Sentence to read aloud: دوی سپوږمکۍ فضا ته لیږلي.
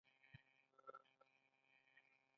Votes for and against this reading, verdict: 2, 0, accepted